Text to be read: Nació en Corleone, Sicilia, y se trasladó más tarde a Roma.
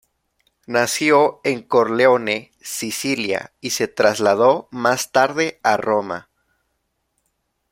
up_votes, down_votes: 2, 1